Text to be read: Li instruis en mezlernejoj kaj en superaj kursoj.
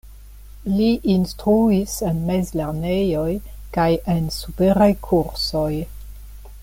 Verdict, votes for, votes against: accepted, 2, 0